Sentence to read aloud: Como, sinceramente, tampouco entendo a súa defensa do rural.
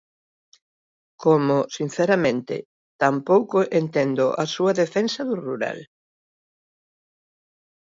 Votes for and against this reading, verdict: 2, 0, accepted